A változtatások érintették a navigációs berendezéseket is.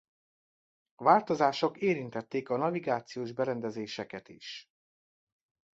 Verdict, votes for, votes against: rejected, 0, 3